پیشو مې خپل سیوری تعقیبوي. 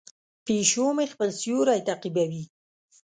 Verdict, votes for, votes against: accepted, 2, 0